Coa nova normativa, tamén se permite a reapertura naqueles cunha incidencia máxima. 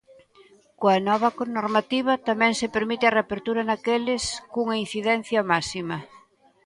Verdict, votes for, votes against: rejected, 0, 2